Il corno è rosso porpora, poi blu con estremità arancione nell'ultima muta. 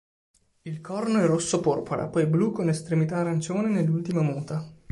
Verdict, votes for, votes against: accepted, 2, 0